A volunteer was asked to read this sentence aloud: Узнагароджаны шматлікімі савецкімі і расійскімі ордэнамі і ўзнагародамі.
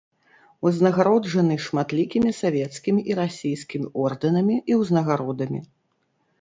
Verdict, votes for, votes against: rejected, 1, 2